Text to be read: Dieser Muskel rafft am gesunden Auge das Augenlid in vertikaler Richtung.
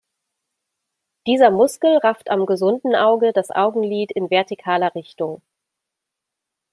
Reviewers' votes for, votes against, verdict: 2, 0, accepted